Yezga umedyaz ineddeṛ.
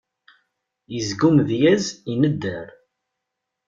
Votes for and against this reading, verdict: 1, 2, rejected